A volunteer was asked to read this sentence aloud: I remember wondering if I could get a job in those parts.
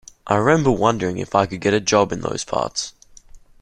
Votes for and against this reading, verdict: 2, 0, accepted